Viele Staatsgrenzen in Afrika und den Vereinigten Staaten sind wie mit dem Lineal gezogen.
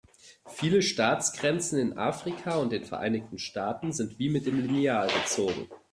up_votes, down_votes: 2, 0